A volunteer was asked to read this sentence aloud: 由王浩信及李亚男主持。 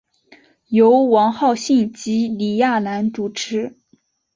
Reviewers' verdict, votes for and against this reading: accepted, 3, 0